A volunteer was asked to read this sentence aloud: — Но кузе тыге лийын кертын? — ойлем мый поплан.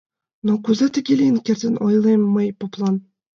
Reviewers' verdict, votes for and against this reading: accepted, 2, 0